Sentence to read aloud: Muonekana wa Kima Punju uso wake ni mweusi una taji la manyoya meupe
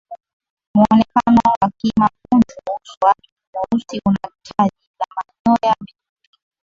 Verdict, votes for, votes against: rejected, 0, 2